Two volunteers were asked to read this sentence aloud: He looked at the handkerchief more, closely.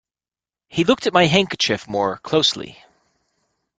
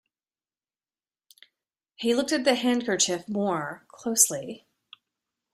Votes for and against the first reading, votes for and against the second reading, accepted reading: 1, 2, 2, 0, second